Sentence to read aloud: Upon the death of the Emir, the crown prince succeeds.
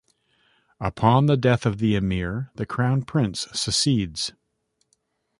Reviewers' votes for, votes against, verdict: 0, 2, rejected